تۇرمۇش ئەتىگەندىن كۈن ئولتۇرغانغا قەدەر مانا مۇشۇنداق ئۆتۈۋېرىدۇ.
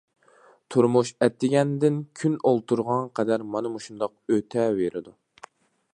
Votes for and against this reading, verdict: 0, 2, rejected